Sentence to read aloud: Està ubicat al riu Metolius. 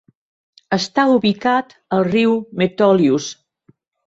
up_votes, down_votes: 0, 2